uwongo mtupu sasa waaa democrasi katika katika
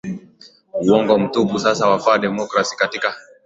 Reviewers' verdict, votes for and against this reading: rejected, 0, 2